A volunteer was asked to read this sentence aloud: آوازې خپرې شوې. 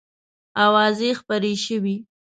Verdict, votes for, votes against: accepted, 2, 0